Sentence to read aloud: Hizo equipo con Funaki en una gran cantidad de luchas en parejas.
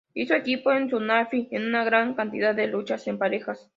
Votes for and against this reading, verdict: 0, 2, rejected